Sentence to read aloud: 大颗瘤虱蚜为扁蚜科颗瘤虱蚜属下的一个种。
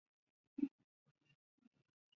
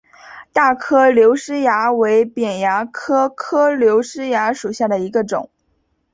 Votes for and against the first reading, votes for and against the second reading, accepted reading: 0, 2, 2, 1, second